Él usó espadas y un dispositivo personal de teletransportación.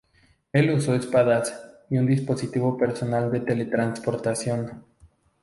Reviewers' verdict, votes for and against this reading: rejected, 0, 2